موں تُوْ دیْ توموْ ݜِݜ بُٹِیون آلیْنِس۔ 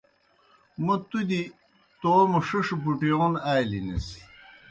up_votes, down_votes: 2, 0